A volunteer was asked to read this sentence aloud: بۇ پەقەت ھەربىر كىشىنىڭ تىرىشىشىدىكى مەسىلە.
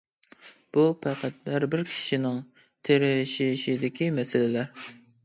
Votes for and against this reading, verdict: 0, 2, rejected